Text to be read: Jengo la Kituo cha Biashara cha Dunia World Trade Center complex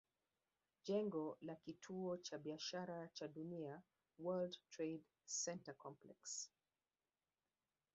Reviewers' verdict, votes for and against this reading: rejected, 0, 2